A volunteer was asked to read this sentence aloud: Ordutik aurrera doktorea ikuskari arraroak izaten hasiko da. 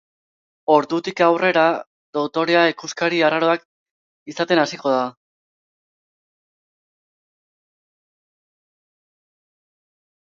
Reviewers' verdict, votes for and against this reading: rejected, 1, 2